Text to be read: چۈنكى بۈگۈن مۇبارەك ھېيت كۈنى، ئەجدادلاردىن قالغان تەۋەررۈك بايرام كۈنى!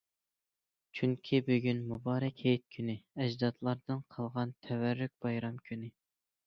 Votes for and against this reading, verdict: 2, 0, accepted